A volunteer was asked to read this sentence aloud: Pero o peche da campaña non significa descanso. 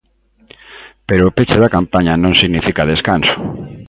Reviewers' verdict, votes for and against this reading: accepted, 2, 0